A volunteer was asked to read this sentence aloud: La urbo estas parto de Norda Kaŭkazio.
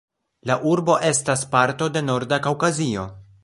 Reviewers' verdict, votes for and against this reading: rejected, 1, 2